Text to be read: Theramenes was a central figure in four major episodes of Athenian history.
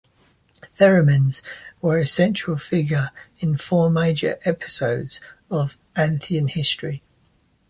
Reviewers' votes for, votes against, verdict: 1, 2, rejected